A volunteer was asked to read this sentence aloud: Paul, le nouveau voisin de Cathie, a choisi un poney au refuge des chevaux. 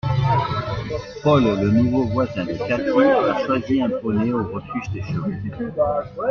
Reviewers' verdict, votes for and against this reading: accepted, 2, 1